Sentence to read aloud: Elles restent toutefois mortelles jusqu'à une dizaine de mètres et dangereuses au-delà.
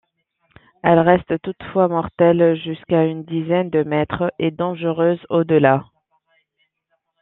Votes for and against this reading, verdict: 2, 0, accepted